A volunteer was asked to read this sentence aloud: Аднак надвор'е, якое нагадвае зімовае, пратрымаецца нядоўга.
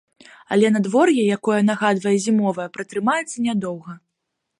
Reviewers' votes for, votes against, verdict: 1, 2, rejected